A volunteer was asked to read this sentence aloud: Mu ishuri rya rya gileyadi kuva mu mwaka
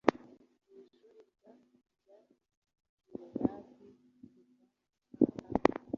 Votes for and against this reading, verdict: 0, 2, rejected